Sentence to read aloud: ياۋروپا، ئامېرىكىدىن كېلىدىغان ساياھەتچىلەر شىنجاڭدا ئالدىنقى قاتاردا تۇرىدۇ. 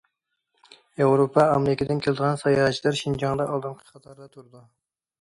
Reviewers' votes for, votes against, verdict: 2, 0, accepted